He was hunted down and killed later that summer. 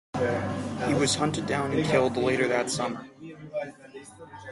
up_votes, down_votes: 6, 0